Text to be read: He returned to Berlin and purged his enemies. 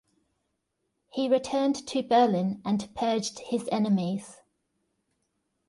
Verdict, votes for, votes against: accepted, 2, 0